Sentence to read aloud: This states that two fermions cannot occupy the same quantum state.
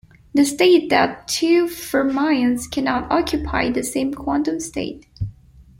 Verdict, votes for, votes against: rejected, 0, 2